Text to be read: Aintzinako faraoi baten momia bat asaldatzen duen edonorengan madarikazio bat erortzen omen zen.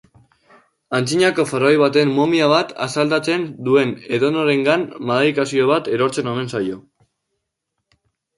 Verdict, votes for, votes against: rejected, 0, 2